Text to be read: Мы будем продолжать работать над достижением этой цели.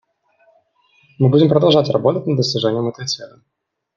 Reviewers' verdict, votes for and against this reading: accepted, 2, 0